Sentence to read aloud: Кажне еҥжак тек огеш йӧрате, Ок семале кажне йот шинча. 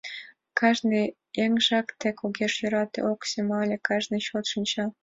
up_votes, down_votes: 1, 2